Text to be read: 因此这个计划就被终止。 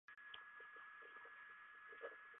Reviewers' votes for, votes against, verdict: 0, 3, rejected